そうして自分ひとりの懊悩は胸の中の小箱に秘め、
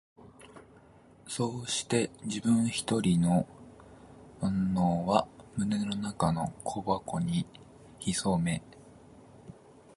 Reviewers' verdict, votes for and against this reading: rejected, 0, 4